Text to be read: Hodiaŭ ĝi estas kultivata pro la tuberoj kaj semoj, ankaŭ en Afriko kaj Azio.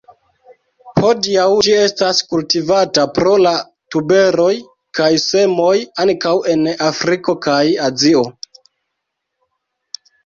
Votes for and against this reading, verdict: 2, 0, accepted